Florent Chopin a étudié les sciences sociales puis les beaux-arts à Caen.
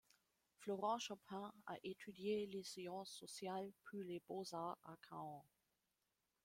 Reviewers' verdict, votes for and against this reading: rejected, 1, 2